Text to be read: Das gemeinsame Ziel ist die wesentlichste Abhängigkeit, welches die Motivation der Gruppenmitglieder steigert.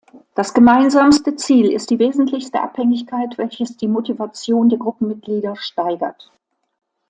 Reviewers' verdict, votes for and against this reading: rejected, 0, 2